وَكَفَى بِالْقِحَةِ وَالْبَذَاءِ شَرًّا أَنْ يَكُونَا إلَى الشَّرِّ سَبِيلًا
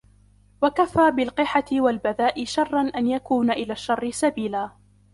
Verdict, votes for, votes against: accepted, 2, 1